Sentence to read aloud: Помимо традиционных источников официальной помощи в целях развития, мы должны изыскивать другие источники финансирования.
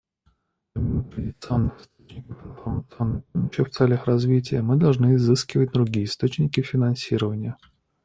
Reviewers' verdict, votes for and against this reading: rejected, 0, 2